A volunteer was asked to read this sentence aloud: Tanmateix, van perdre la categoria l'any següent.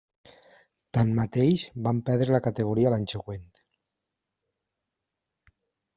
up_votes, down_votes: 1, 2